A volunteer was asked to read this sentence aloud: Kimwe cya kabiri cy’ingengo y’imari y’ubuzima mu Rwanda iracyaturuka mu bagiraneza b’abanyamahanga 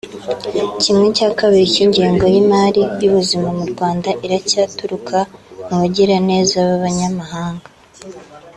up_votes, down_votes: 2, 0